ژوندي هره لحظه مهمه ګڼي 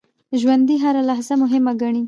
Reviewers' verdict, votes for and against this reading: accepted, 2, 1